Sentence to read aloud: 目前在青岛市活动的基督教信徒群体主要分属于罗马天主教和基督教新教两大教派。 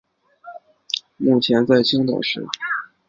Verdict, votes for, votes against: rejected, 0, 5